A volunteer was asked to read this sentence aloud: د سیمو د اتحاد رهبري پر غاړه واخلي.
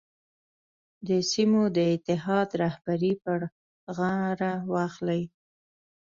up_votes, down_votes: 0, 2